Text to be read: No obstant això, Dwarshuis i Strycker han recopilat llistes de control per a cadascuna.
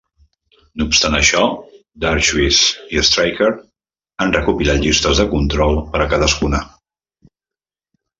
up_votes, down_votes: 2, 0